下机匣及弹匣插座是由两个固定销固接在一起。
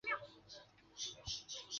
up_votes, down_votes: 0, 3